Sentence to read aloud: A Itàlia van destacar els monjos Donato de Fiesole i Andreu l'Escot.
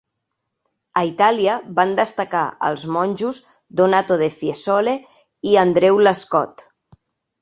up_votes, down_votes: 2, 0